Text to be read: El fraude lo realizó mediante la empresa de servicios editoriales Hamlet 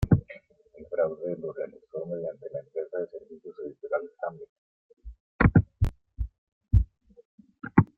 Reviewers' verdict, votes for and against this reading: rejected, 1, 2